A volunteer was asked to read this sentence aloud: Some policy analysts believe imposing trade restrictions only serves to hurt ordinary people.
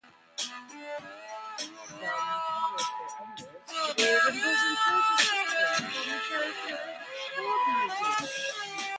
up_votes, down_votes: 0, 2